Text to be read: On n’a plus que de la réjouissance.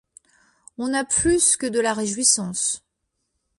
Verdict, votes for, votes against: rejected, 1, 2